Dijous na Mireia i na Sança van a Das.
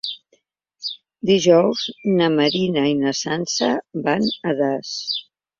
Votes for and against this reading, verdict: 1, 2, rejected